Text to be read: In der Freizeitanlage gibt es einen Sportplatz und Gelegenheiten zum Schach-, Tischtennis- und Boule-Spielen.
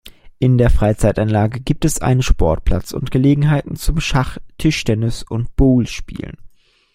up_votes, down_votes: 2, 0